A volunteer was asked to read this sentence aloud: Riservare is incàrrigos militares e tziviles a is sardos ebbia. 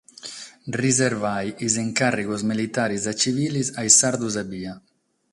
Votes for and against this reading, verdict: 3, 3, rejected